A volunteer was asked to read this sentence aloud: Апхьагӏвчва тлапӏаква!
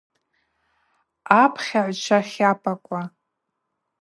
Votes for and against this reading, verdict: 2, 0, accepted